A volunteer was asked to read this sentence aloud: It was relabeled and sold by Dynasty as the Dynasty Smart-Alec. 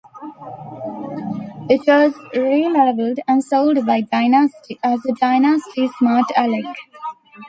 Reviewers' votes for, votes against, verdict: 1, 2, rejected